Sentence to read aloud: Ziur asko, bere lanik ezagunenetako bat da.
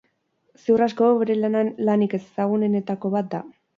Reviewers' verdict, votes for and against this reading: rejected, 0, 4